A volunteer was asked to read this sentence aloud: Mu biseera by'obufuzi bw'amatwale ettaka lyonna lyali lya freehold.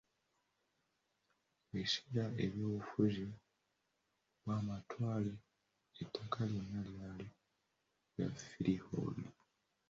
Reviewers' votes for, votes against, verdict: 2, 0, accepted